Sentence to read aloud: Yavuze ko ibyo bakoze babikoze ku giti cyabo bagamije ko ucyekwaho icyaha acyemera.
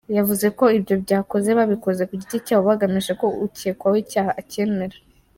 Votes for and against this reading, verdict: 1, 2, rejected